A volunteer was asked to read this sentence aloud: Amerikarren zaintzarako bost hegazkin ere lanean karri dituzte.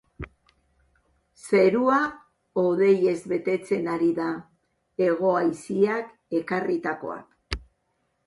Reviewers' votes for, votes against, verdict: 2, 3, rejected